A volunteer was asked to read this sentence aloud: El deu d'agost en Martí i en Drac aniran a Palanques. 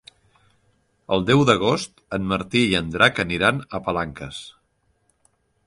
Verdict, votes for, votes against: accepted, 4, 0